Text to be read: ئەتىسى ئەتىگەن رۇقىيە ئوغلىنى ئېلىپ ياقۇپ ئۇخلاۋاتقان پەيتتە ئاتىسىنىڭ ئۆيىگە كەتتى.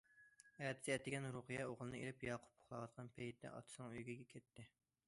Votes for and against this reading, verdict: 2, 0, accepted